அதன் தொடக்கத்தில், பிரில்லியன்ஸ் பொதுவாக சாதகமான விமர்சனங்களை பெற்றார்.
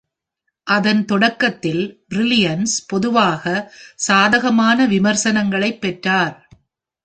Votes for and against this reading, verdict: 2, 0, accepted